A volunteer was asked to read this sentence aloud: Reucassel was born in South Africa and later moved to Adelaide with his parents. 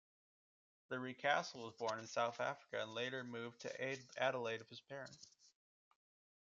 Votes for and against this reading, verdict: 1, 2, rejected